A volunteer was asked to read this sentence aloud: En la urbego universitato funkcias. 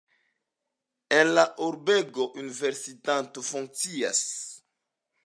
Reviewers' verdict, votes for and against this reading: accepted, 2, 0